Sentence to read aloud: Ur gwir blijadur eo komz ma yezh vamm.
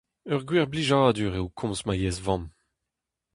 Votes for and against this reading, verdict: 2, 0, accepted